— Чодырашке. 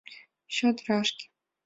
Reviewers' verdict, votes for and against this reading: accepted, 2, 0